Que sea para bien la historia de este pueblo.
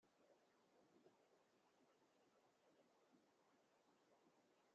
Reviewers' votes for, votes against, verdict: 0, 2, rejected